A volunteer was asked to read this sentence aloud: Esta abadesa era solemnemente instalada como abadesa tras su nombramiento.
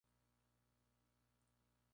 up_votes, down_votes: 0, 2